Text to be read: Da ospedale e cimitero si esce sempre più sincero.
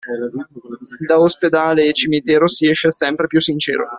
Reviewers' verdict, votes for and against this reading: accepted, 2, 0